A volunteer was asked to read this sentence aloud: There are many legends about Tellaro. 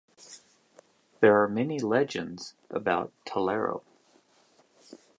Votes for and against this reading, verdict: 2, 0, accepted